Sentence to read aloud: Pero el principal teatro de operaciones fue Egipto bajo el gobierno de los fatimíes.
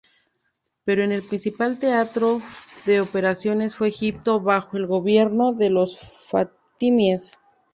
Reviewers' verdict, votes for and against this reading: accepted, 2, 0